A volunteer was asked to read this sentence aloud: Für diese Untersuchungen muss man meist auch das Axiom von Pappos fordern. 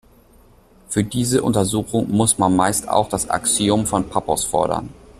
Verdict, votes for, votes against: accepted, 2, 1